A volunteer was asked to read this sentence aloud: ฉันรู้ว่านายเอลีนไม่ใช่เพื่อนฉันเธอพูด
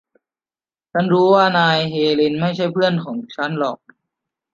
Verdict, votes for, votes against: rejected, 1, 2